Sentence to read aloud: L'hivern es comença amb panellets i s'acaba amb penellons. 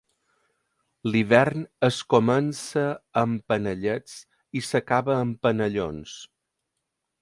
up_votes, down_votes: 2, 0